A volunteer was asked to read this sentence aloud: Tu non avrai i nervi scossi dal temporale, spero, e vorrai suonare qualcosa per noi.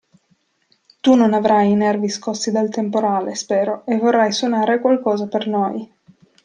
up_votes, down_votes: 2, 0